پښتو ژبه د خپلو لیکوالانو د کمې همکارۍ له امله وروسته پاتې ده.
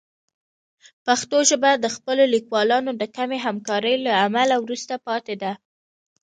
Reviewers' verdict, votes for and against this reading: accepted, 2, 0